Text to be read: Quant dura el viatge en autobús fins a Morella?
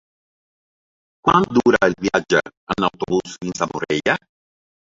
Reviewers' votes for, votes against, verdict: 1, 2, rejected